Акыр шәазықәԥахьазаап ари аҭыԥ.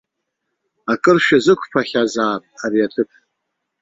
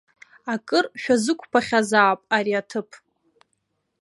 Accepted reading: second